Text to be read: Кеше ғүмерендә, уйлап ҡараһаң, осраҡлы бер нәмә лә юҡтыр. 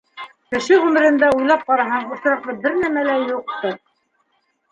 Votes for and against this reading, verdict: 0, 2, rejected